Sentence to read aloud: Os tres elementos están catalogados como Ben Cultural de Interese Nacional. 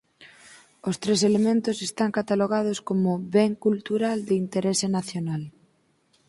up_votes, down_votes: 2, 4